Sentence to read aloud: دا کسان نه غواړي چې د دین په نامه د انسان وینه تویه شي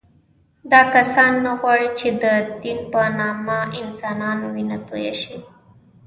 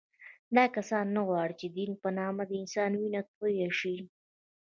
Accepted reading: second